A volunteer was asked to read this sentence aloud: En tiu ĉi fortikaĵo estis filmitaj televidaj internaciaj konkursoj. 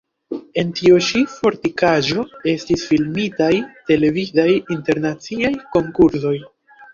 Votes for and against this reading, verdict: 0, 2, rejected